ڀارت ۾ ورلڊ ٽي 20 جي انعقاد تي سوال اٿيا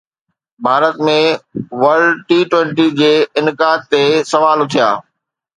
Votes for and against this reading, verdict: 0, 2, rejected